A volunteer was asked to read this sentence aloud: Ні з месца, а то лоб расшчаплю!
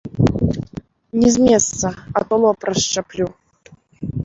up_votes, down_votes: 2, 0